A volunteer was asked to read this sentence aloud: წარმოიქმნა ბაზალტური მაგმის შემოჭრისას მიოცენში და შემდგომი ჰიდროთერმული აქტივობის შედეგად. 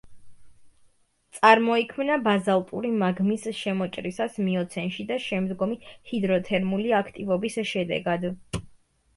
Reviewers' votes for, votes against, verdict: 3, 0, accepted